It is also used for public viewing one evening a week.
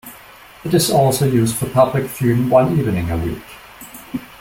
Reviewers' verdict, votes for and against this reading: rejected, 1, 2